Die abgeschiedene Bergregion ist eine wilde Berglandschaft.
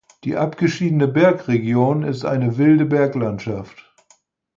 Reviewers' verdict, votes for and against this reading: accepted, 4, 0